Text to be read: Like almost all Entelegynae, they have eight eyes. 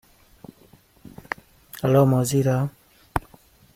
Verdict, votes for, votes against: rejected, 0, 2